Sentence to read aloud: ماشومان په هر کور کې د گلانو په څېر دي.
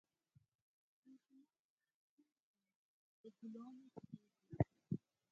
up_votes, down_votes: 0, 4